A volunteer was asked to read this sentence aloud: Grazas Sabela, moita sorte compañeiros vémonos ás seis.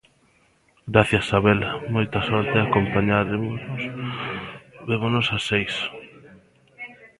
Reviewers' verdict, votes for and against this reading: rejected, 0, 2